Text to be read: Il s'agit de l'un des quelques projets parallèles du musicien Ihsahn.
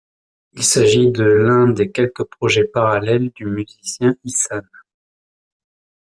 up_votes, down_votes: 2, 0